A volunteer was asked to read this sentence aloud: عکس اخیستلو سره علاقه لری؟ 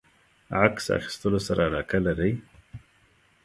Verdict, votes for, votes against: accepted, 3, 0